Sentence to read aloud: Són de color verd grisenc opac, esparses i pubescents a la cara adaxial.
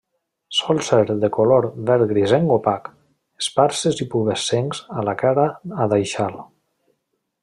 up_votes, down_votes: 1, 2